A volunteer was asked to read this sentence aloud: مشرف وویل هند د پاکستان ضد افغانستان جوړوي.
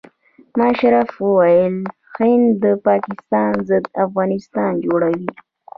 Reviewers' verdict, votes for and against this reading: accepted, 2, 0